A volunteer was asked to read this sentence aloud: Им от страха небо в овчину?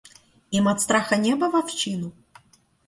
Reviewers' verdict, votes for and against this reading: accepted, 2, 0